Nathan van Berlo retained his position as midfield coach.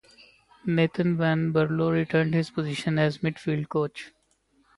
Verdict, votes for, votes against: rejected, 0, 2